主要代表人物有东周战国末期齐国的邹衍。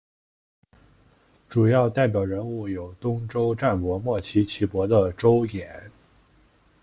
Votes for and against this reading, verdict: 2, 0, accepted